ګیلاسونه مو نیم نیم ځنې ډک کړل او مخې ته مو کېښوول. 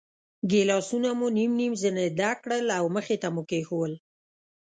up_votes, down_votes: 2, 0